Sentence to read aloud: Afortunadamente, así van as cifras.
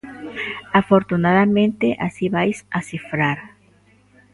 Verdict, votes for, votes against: rejected, 0, 2